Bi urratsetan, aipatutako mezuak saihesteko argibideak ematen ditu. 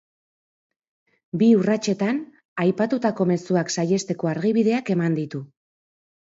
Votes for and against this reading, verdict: 0, 3, rejected